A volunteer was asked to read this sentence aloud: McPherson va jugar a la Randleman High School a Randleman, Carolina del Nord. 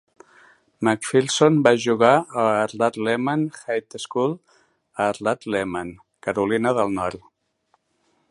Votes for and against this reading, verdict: 1, 3, rejected